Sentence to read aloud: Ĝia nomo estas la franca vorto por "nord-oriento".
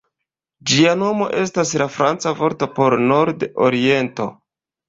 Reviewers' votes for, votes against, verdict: 1, 2, rejected